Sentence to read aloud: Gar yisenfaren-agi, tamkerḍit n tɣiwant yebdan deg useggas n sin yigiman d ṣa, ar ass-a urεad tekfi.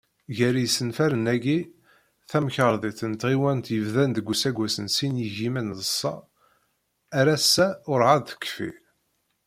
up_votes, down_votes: 1, 2